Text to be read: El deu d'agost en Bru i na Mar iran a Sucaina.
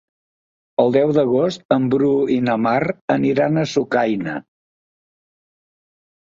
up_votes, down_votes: 0, 3